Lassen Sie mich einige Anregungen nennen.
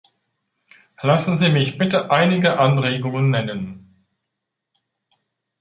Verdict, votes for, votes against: rejected, 1, 2